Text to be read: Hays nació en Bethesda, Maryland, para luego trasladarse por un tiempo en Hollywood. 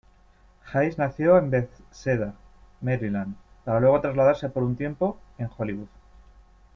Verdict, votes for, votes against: accepted, 2, 1